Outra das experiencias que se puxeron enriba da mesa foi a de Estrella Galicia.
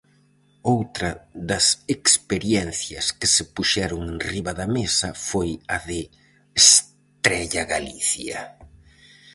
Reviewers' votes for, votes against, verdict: 2, 2, rejected